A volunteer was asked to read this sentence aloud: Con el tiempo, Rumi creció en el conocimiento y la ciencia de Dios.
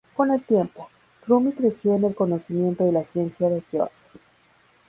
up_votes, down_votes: 2, 2